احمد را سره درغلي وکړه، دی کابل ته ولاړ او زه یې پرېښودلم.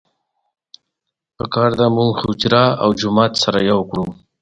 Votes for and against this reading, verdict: 1, 2, rejected